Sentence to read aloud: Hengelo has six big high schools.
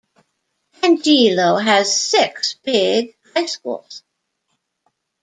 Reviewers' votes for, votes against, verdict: 1, 2, rejected